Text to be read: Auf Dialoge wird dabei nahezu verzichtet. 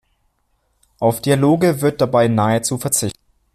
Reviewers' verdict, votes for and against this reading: rejected, 0, 2